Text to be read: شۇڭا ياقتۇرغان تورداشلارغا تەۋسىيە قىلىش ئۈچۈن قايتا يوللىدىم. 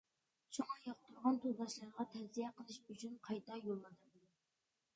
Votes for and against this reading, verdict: 0, 2, rejected